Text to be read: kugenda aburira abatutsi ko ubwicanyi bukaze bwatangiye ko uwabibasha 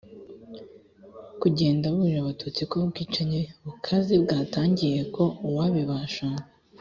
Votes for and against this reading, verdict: 2, 0, accepted